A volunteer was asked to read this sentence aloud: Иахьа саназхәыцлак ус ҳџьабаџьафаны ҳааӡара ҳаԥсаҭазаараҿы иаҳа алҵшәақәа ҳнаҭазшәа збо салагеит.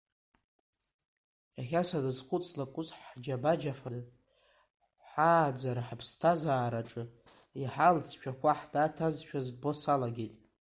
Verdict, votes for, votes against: accepted, 2, 1